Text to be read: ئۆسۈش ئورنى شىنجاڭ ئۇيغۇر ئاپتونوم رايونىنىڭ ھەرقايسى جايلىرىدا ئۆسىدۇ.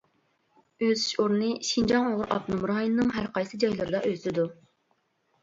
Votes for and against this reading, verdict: 1, 2, rejected